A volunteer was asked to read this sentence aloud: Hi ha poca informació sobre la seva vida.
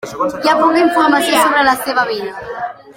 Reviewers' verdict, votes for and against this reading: rejected, 1, 2